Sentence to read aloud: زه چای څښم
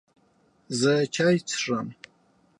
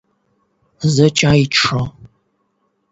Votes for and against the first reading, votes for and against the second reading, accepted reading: 2, 0, 4, 8, first